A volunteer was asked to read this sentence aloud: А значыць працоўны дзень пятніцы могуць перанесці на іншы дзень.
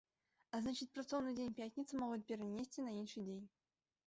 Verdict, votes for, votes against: rejected, 2, 3